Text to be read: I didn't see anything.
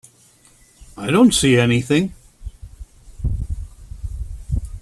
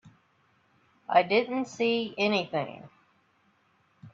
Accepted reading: second